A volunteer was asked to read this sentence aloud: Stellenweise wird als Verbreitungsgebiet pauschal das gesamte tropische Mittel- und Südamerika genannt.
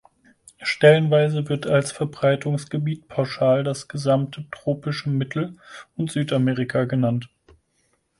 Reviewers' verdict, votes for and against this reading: accepted, 4, 0